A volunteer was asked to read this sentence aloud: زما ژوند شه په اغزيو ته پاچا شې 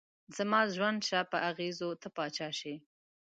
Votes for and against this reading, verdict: 1, 2, rejected